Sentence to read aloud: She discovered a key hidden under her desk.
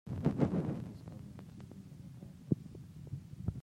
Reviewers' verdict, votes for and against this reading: rejected, 0, 2